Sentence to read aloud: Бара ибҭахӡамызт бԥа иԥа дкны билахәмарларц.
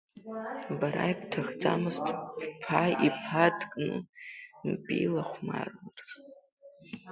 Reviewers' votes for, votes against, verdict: 1, 2, rejected